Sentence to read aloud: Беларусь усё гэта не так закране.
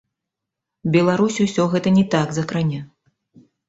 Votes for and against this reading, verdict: 2, 1, accepted